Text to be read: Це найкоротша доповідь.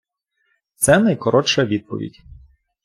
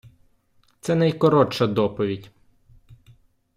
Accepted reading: second